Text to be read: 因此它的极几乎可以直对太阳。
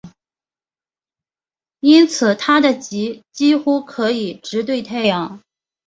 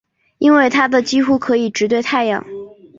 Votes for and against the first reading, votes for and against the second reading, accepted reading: 2, 1, 1, 3, first